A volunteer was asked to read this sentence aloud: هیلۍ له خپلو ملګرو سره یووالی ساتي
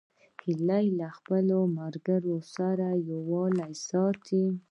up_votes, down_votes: 2, 0